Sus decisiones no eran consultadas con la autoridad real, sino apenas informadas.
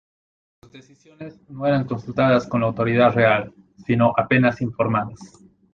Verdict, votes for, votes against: accepted, 2, 1